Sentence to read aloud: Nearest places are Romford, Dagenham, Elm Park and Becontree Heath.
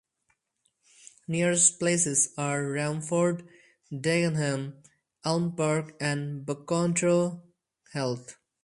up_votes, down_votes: 2, 2